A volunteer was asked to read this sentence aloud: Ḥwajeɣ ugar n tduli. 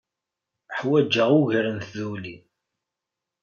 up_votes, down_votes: 2, 0